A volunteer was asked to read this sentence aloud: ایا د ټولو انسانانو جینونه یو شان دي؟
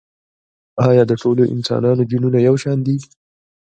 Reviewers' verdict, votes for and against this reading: rejected, 1, 2